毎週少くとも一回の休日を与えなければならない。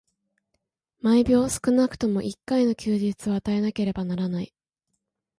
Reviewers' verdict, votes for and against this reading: rejected, 1, 2